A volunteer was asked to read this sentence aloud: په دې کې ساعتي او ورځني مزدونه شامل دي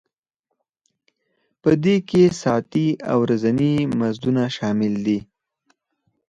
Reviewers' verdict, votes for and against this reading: accepted, 4, 0